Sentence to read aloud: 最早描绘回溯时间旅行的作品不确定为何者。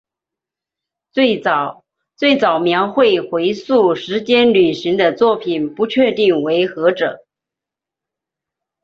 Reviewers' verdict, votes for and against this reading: rejected, 0, 2